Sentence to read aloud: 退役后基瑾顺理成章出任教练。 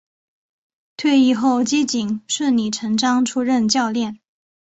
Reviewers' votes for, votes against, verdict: 2, 0, accepted